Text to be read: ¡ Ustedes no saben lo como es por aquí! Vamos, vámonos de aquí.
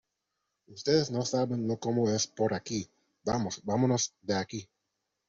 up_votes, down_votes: 2, 0